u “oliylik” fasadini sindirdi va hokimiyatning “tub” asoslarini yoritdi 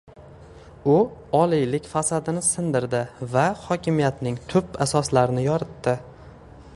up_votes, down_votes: 2, 0